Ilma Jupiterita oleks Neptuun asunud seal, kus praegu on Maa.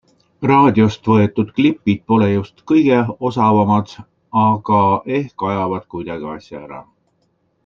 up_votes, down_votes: 0, 2